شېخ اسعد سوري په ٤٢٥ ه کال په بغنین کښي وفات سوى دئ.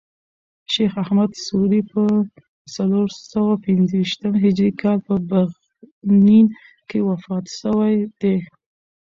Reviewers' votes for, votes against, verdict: 0, 2, rejected